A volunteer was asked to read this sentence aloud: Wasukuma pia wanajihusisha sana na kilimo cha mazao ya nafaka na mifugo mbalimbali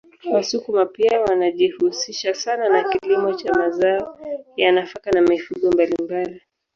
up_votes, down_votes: 0, 2